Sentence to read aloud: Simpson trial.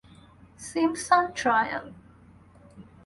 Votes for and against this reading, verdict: 4, 0, accepted